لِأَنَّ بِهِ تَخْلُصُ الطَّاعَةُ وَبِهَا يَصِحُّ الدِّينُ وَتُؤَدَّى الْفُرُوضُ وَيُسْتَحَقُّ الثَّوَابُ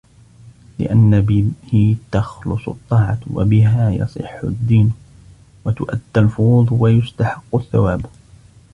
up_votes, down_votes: 1, 2